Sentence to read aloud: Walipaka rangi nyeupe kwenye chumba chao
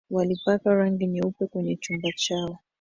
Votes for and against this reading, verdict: 0, 2, rejected